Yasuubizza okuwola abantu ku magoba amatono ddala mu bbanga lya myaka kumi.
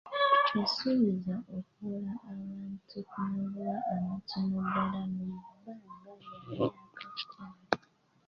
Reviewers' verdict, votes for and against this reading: accepted, 2, 1